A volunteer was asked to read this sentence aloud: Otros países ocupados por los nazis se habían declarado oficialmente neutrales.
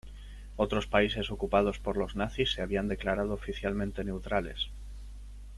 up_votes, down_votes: 2, 0